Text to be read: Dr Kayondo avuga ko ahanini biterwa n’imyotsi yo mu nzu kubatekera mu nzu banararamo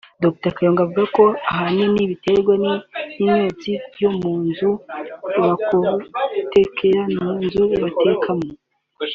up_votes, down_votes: 0, 3